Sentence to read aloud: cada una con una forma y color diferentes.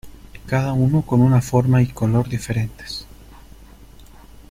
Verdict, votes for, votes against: rejected, 0, 2